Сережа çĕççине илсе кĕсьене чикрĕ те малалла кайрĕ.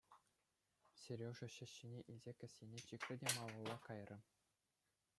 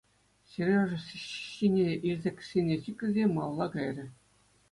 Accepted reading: first